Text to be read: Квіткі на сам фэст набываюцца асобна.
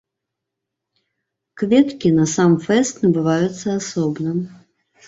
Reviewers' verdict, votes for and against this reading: rejected, 1, 2